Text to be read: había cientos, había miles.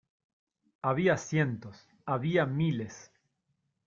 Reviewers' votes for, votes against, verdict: 2, 0, accepted